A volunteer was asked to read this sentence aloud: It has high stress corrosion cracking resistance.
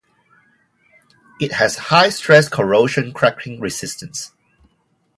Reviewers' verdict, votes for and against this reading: accepted, 2, 0